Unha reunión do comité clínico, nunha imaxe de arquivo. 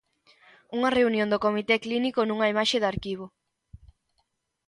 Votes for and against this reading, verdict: 2, 0, accepted